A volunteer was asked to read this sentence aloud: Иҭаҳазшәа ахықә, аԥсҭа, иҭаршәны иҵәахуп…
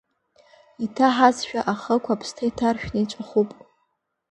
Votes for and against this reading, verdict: 2, 0, accepted